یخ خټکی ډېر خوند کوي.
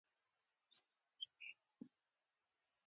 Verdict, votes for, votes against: accepted, 2, 1